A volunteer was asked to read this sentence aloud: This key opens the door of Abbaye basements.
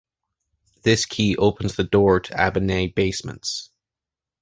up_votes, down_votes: 1, 2